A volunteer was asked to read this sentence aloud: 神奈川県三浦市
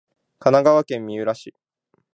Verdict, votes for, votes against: accepted, 2, 0